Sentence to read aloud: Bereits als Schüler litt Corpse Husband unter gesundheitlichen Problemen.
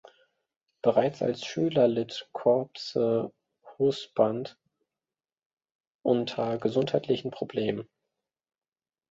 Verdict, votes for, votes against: rejected, 1, 2